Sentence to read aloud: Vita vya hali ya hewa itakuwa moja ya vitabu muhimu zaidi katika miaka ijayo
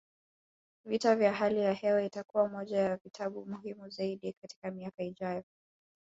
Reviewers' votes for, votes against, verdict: 1, 2, rejected